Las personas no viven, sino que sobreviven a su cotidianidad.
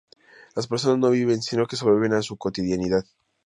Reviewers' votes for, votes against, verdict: 2, 0, accepted